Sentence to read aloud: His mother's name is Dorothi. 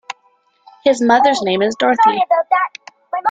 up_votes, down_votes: 2, 0